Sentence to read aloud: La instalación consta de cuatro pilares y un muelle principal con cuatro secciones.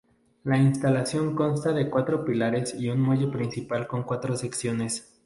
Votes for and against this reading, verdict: 0, 2, rejected